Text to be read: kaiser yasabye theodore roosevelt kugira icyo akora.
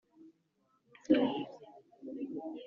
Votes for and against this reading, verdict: 1, 3, rejected